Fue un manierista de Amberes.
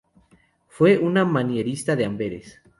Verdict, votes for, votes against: rejected, 0, 2